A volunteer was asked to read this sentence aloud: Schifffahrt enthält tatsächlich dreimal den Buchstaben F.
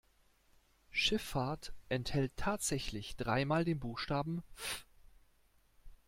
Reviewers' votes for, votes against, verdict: 1, 2, rejected